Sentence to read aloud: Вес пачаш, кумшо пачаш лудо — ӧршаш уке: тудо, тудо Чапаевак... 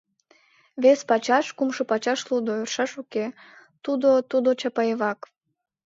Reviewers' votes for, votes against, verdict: 2, 0, accepted